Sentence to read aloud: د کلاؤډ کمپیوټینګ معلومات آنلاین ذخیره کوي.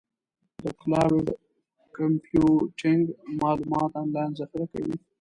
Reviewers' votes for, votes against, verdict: 2, 3, rejected